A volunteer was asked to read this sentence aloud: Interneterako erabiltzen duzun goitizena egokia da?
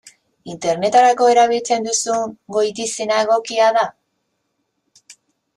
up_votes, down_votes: 2, 0